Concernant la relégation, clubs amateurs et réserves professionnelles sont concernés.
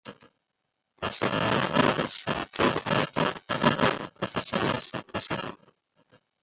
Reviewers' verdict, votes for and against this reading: rejected, 0, 2